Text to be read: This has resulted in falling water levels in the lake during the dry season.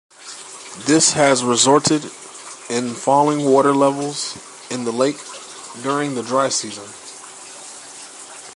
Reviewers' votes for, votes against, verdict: 2, 0, accepted